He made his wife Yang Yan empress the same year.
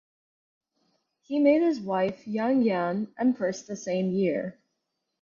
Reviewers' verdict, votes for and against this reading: accepted, 4, 0